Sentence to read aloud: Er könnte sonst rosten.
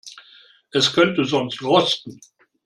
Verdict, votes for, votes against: rejected, 1, 2